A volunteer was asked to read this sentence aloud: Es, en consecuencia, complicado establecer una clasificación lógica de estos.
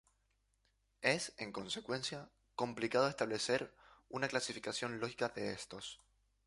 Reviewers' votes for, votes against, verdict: 0, 2, rejected